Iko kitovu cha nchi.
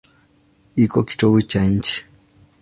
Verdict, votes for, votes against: accepted, 2, 0